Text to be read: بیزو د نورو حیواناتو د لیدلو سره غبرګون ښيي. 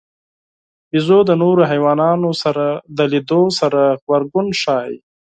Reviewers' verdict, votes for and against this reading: rejected, 0, 4